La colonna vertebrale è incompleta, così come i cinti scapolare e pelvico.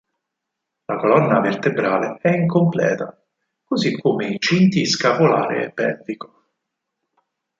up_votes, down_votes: 4, 0